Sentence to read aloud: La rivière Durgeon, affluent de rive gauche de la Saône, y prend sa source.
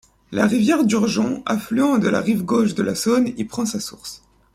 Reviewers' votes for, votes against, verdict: 0, 2, rejected